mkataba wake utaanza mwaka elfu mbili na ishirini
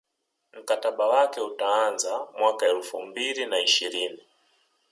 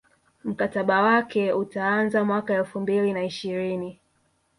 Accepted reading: first